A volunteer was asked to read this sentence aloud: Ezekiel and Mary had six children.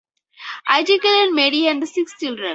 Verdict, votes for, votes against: rejected, 0, 2